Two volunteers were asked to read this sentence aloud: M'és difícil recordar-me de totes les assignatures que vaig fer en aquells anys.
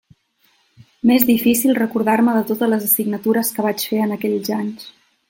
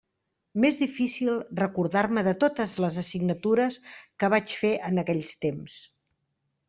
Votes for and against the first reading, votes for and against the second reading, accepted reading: 2, 0, 1, 2, first